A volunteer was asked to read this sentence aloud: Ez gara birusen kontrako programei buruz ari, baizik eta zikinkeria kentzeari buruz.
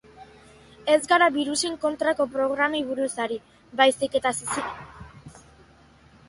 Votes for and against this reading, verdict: 0, 2, rejected